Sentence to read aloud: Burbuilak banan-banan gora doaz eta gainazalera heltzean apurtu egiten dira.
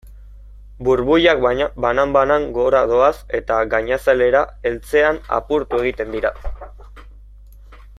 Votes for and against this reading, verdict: 2, 1, accepted